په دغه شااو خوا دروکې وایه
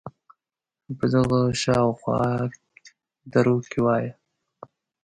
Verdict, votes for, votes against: accepted, 2, 1